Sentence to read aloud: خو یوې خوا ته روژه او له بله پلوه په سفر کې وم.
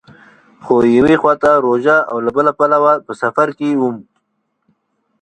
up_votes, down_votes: 2, 0